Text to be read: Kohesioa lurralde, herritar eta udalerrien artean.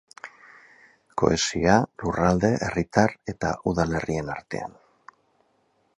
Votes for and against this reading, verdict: 2, 2, rejected